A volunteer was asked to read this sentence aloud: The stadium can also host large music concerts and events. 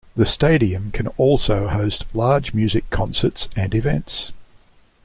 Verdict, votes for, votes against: accepted, 2, 0